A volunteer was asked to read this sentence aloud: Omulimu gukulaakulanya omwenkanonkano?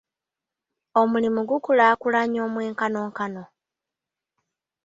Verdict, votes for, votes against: accepted, 2, 1